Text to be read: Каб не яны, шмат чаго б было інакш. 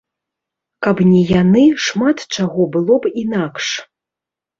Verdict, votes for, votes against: rejected, 1, 2